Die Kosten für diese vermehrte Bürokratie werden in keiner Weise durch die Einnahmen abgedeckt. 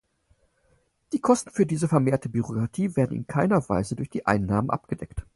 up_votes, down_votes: 4, 0